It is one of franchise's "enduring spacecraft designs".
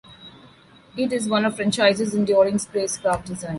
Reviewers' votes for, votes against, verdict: 0, 2, rejected